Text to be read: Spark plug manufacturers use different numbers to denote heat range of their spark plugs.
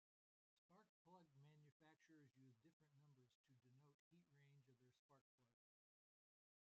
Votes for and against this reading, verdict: 0, 2, rejected